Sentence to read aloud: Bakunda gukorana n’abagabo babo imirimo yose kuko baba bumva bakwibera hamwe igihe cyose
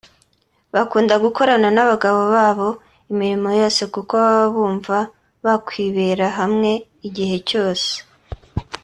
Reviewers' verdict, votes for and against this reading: accepted, 2, 0